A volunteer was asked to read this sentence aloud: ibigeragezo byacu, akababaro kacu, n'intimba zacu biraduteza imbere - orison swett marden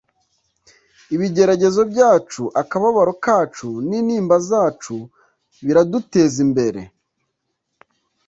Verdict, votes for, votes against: rejected, 1, 2